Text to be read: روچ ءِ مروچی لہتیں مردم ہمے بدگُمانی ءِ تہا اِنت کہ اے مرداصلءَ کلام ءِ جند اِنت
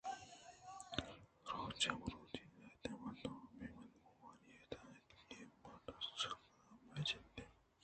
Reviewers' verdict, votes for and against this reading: rejected, 1, 2